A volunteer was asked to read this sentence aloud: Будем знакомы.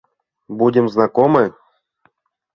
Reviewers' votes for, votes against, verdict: 2, 0, accepted